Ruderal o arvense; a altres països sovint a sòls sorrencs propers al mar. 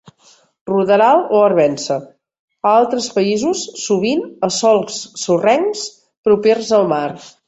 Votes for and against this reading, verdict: 2, 0, accepted